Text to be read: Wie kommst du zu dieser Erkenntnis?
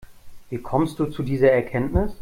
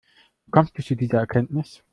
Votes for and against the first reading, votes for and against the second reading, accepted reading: 2, 0, 1, 2, first